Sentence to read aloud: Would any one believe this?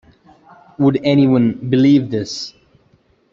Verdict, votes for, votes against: accepted, 2, 0